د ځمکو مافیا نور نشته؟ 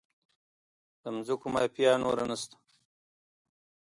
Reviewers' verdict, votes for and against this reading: accepted, 2, 0